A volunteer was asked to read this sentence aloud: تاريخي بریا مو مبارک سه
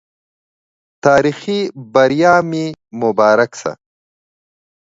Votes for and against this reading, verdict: 2, 1, accepted